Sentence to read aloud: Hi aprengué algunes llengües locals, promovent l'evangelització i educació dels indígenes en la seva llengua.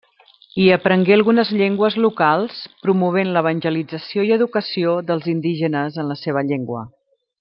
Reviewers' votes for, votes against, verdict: 2, 0, accepted